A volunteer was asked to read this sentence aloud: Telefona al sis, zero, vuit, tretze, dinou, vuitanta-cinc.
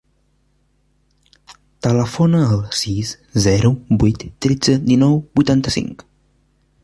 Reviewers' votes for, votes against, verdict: 3, 0, accepted